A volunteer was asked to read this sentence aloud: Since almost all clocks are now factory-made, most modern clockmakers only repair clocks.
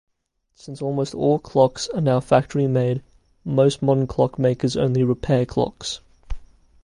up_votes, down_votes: 2, 0